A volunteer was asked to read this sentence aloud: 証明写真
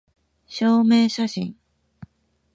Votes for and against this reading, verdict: 1, 2, rejected